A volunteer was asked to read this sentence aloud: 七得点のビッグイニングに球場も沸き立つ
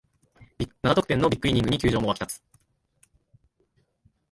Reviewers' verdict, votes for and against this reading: rejected, 0, 2